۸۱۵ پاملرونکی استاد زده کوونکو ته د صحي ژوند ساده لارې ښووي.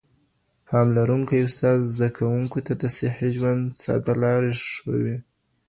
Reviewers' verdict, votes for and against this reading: rejected, 0, 2